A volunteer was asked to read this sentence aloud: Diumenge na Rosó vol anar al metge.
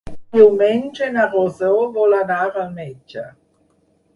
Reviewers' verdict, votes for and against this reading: accepted, 6, 0